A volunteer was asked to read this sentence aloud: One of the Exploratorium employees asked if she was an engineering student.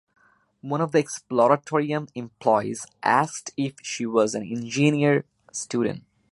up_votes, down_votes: 0, 2